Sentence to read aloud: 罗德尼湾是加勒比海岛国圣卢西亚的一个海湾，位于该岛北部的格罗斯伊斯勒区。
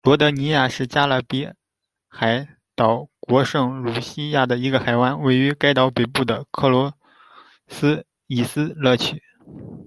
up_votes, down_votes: 0, 2